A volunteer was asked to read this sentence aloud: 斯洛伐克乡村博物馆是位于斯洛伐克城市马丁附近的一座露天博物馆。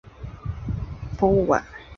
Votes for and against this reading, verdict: 1, 2, rejected